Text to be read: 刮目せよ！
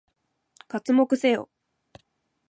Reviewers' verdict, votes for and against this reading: accepted, 2, 0